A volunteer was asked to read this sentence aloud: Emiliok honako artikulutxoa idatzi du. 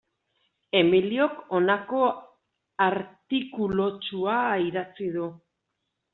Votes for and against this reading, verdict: 1, 2, rejected